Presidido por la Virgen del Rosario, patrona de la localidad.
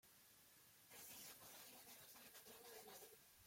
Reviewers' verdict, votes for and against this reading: rejected, 0, 3